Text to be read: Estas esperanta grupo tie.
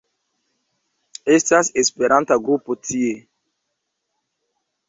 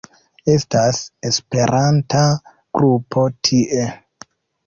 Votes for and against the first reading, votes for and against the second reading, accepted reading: 1, 2, 2, 0, second